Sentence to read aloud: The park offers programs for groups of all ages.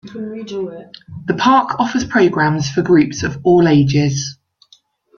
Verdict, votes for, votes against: rejected, 0, 2